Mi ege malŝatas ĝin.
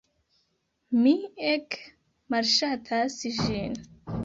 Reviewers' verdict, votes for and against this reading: accepted, 2, 0